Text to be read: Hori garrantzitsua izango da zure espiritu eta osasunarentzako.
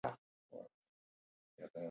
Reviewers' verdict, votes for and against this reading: rejected, 0, 4